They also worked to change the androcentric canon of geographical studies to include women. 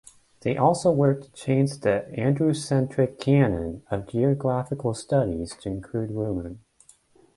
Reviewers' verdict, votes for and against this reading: rejected, 1, 2